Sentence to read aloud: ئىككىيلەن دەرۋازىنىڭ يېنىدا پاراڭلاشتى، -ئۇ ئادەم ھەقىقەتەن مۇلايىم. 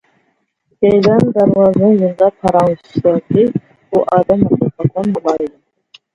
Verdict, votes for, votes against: rejected, 0, 2